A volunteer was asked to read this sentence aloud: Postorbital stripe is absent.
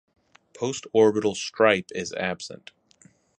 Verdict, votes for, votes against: accepted, 4, 0